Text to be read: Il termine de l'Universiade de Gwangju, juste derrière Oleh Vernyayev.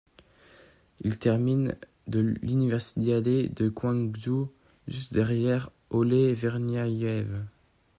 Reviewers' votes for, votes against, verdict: 2, 0, accepted